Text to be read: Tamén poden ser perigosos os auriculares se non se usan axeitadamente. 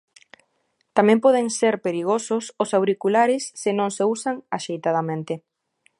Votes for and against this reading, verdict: 2, 0, accepted